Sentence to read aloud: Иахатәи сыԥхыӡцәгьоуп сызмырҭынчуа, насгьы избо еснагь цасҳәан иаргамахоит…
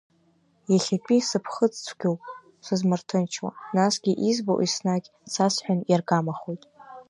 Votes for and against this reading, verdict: 1, 2, rejected